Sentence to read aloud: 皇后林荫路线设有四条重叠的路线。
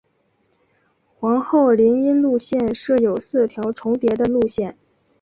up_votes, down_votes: 6, 0